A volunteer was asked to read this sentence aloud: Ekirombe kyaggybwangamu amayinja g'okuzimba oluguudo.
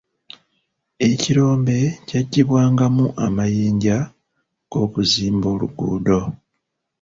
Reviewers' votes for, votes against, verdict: 0, 2, rejected